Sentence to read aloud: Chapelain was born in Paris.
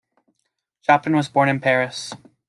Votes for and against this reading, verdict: 2, 0, accepted